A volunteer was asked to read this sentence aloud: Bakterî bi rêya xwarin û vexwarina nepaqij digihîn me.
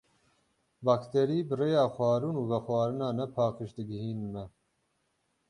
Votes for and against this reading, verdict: 6, 6, rejected